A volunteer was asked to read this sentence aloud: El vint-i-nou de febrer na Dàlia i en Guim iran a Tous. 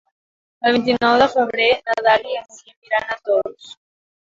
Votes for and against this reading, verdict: 0, 2, rejected